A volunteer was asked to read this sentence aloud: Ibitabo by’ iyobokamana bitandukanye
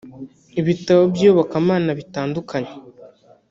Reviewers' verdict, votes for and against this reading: rejected, 1, 2